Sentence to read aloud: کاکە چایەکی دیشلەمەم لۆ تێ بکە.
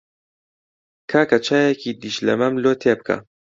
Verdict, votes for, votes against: accepted, 2, 0